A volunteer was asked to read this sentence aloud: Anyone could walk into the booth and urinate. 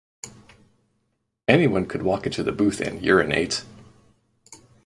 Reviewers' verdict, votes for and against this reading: accepted, 2, 0